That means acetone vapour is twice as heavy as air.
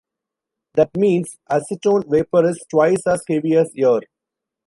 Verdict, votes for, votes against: rejected, 0, 2